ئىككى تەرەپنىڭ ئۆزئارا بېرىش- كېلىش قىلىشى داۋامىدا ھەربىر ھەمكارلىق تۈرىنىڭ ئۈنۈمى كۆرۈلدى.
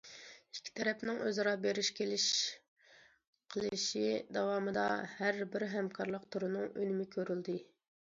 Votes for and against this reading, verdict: 2, 0, accepted